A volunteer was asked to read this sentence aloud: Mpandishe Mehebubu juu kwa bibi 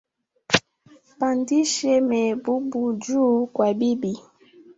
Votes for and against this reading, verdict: 3, 1, accepted